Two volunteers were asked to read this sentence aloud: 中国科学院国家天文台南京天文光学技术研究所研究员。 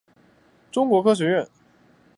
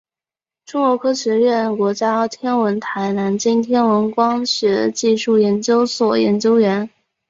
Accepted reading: second